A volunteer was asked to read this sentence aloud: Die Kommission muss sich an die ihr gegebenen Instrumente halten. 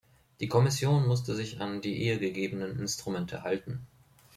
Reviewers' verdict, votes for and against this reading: rejected, 0, 2